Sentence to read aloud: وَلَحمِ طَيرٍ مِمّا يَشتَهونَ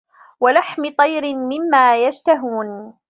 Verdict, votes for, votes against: accepted, 2, 0